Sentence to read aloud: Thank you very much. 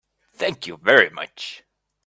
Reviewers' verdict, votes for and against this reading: accepted, 2, 0